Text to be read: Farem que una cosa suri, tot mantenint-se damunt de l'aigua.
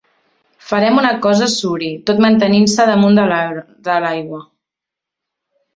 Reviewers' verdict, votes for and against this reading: rejected, 0, 2